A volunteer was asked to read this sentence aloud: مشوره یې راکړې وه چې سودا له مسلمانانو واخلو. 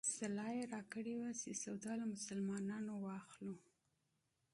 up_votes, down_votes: 1, 2